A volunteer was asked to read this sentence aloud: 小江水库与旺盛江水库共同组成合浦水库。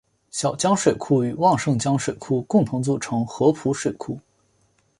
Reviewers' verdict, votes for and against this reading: accepted, 2, 0